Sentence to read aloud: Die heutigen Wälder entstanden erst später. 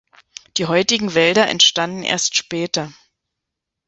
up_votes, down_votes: 2, 0